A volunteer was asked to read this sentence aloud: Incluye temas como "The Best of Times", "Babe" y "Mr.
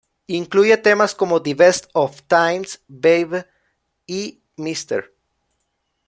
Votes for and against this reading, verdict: 1, 2, rejected